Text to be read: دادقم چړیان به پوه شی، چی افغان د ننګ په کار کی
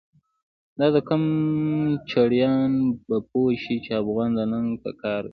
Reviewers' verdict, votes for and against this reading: rejected, 1, 2